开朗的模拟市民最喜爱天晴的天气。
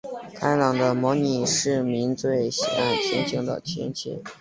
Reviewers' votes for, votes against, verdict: 2, 1, accepted